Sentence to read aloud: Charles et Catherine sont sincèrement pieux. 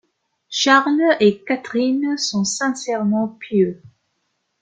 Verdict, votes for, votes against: accepted, 2, 0